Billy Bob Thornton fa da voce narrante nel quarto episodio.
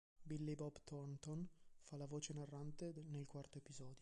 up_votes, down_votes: 1, 2